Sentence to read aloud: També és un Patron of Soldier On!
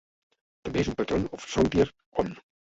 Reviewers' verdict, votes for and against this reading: rejected, 0, 2